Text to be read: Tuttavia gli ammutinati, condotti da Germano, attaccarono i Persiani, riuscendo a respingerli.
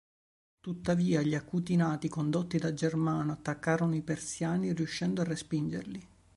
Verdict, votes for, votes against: rejected, 1, 2